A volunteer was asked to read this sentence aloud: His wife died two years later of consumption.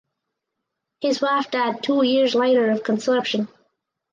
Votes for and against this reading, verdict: 0, 2, rejected